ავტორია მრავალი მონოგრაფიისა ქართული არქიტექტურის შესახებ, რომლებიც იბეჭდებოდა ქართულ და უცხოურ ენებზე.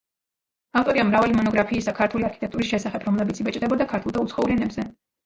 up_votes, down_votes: 0, 2